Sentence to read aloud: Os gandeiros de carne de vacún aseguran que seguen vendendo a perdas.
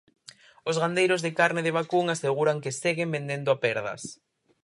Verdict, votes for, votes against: rejected, 0, 4